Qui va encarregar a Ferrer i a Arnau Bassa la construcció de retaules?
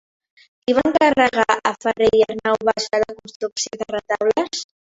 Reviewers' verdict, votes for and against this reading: rejected, 0, 2